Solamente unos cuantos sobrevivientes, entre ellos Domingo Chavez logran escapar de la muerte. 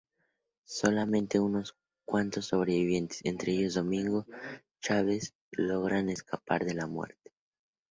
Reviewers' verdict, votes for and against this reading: rejected, 0, 2